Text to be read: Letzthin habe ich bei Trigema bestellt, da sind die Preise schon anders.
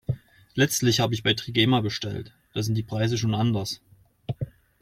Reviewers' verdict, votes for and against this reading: rejected, 0, 2